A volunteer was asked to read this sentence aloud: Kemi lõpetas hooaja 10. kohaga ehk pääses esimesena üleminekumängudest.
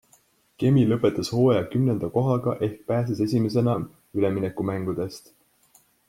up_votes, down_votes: 0, 2